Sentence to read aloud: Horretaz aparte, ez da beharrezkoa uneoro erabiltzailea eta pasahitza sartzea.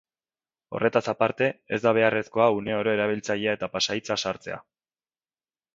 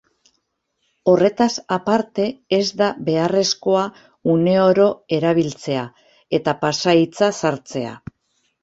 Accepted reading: first